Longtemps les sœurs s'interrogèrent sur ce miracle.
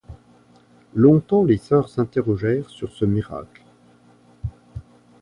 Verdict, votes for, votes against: accepted, 2, 0